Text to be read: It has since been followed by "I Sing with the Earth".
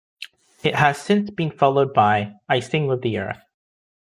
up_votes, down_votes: 2, 0